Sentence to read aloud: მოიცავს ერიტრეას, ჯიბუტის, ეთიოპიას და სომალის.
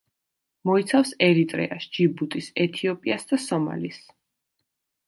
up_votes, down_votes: 2, 1